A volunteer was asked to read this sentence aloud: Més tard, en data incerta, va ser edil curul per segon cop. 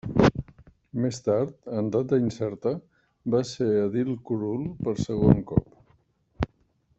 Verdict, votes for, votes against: accepted, 2, 1